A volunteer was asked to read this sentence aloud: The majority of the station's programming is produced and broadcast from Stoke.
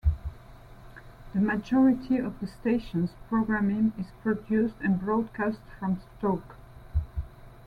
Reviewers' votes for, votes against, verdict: 2, 0, accepted